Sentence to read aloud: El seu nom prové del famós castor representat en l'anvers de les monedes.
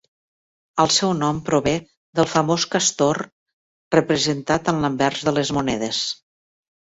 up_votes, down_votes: 3, 0